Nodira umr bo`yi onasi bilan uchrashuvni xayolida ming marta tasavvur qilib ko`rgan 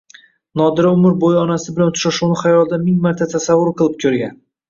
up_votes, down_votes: 2, 1